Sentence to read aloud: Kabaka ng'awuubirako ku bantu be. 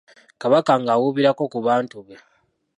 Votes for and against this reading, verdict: 0, 2, rejected